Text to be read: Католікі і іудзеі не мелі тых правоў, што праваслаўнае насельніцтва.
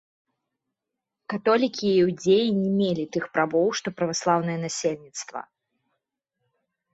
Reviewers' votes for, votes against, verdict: 2, 0, accepted